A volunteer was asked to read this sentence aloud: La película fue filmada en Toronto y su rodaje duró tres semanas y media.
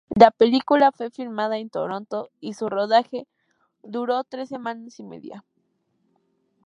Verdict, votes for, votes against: accepted, 2, 0